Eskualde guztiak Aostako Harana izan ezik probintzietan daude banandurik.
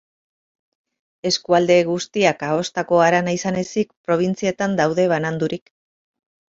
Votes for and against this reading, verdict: 14, 0, accepted